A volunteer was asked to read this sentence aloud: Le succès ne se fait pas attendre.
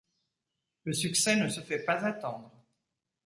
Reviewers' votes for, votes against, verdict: 2, 0, accepted